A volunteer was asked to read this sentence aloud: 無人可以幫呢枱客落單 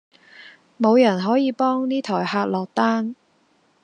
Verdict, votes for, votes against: accepted, 2, 0